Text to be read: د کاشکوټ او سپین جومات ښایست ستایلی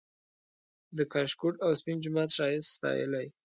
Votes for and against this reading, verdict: 2, 0, accepted